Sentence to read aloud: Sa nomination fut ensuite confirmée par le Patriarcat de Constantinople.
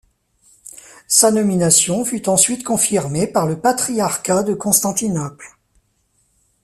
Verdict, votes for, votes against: accepted, 2, 0